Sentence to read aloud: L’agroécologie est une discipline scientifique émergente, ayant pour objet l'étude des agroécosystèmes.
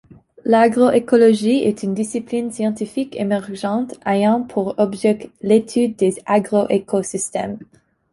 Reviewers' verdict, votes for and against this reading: rejected, 1, 2